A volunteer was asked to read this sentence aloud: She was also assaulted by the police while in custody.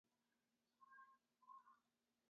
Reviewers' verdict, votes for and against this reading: rejected, 0, 2